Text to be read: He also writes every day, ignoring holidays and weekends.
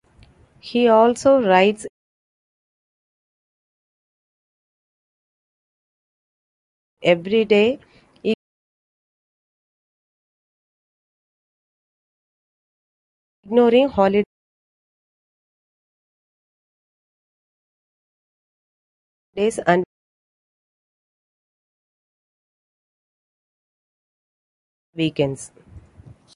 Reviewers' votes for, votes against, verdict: 1, 2, rejected